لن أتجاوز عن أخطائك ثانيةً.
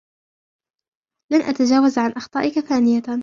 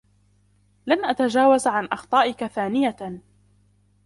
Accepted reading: first